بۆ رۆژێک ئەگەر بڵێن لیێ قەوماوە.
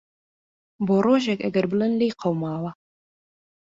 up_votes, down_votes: 2, 0